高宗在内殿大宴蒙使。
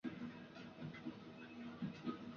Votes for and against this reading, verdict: 1, 2, rejected